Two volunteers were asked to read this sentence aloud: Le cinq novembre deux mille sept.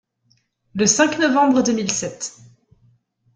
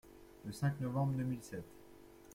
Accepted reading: first